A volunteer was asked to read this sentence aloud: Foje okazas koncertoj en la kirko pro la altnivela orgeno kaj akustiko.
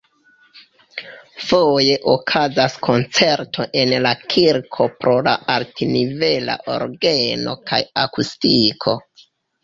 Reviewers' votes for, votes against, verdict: 0, 2, rejected